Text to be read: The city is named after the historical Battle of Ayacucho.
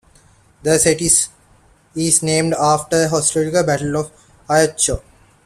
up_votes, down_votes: 0, 2